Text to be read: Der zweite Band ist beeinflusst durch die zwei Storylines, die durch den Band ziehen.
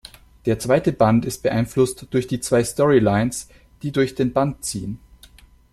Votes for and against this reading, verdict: 2, 0, accepted